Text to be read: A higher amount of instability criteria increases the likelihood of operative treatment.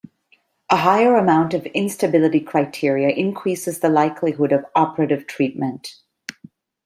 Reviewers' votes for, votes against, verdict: 2, 0, accepted